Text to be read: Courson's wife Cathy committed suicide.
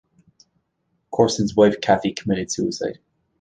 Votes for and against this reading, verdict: 2, 0, accepted